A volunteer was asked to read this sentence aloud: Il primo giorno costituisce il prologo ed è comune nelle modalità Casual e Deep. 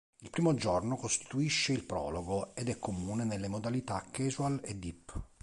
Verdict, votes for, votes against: accepted, 2, 0